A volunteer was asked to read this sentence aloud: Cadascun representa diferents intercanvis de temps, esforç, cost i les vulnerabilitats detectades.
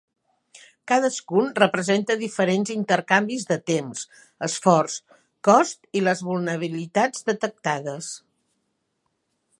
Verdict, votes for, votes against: rejected, 1, 2